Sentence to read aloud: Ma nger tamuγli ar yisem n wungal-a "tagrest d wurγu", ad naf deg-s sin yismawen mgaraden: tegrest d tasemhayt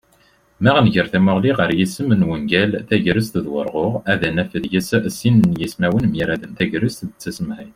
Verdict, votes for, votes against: rejected, 1, 2